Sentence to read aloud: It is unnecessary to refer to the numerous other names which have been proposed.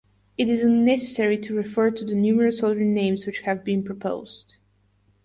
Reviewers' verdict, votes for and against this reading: accepted, 4, 0